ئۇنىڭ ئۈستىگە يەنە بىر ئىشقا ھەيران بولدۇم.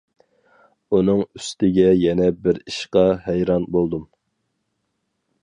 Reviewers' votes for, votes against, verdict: 4, 0, accepted